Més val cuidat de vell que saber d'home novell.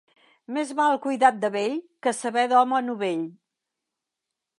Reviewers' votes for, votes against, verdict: 3, 0, accepted